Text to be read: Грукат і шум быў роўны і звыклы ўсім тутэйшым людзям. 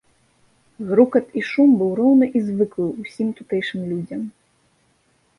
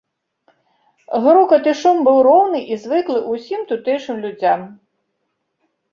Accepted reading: first